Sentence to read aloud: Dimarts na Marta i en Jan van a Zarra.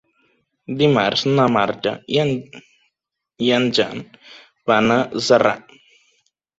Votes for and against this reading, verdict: 1, 2, rejected